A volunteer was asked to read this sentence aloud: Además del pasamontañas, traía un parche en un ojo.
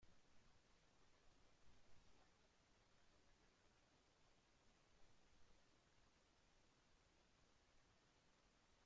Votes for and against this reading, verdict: 0, 2, rejected